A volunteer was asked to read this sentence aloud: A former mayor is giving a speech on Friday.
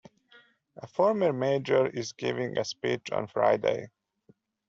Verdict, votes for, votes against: rejected, 0, 2